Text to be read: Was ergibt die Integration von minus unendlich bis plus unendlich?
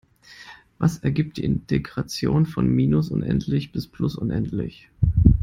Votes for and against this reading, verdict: 1, 2, rejected